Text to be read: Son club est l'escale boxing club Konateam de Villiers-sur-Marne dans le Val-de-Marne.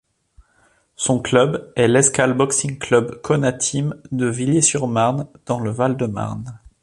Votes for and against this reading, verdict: 2, 0, accepted